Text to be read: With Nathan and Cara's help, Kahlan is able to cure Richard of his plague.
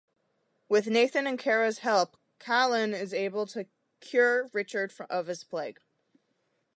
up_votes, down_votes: 1, 2